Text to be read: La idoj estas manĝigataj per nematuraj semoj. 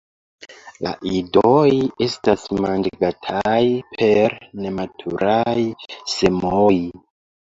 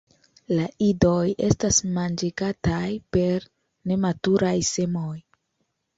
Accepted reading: second